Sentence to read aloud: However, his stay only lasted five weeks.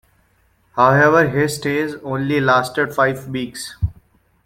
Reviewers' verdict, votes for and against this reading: rejected, 1, 2